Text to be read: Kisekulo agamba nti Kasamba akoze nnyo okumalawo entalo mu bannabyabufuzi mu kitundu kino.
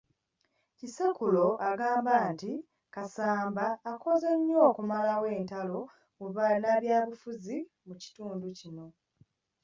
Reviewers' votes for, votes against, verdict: 2, 1, accepted